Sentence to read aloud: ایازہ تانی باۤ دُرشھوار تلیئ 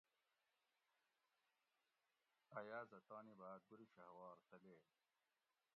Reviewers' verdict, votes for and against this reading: rejected, 1, 2